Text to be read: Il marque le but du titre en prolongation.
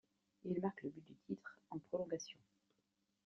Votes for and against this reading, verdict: 0, 2, rejected